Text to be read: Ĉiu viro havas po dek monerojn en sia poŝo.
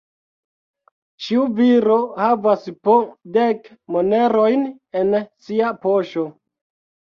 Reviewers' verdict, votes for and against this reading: accepted, 3, 1